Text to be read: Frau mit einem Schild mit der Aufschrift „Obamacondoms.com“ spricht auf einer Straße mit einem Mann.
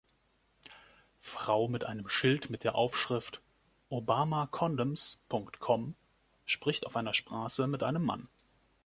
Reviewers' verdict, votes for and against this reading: accepted, 2, 1